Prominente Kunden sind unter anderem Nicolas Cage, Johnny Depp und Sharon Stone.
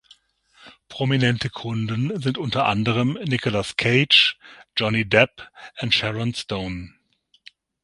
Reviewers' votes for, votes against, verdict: 0, 6, rejected